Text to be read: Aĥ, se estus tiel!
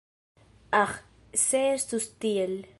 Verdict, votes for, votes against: accepted, 2, 1